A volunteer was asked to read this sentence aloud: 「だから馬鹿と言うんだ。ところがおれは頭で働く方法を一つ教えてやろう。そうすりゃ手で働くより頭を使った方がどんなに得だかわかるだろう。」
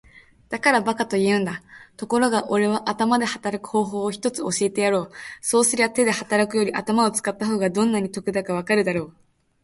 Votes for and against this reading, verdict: 6, 0, accepted